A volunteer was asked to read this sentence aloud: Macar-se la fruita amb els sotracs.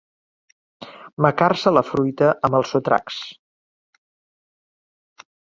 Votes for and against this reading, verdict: 3, 0, accepted